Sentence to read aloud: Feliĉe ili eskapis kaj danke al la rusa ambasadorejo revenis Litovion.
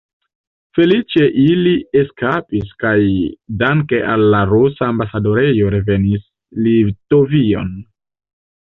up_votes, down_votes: 2, 0